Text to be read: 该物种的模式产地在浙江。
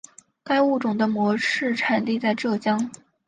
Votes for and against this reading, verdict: 6, 0, accepted